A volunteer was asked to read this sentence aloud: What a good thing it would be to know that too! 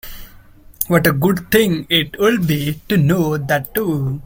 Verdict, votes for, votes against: rejected, 0, 2